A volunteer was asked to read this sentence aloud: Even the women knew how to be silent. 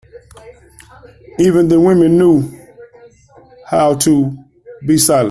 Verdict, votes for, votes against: rejected, 0, 2